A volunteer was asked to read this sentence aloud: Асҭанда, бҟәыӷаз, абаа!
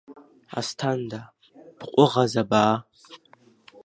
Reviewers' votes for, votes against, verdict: 1, 2, rejected